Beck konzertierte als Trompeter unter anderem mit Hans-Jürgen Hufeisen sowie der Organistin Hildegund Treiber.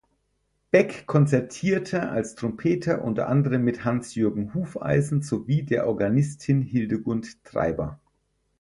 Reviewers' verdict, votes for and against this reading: accepted, 4, 0